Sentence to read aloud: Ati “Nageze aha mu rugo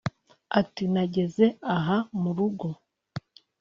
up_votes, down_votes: 2, 0